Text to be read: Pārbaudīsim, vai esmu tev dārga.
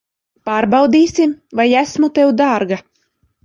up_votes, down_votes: 2, 0